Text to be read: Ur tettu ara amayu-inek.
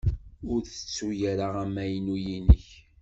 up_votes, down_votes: 1, 2